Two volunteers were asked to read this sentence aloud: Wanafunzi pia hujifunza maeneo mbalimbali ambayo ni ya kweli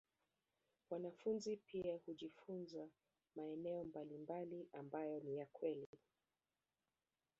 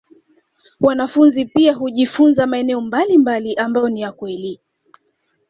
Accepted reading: second